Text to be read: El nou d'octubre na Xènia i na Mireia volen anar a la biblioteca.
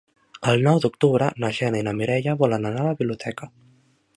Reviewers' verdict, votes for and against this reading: rejected, 1, 2